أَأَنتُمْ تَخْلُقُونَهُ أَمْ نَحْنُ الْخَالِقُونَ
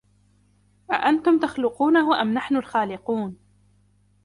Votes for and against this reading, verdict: 2, 0, accepted